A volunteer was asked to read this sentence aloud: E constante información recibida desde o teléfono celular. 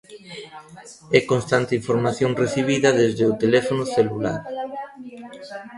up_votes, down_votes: 2, 1